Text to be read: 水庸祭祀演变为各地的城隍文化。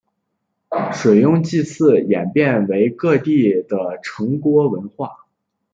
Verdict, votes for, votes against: rejected, 0, 2